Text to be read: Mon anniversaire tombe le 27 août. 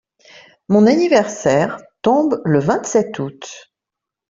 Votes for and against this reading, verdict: 0, 2, rejected